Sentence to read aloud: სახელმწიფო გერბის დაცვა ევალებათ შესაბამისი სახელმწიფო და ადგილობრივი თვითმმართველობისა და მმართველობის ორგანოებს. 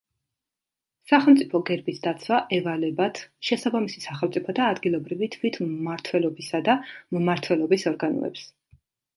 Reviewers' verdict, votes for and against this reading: accepted, 3, 0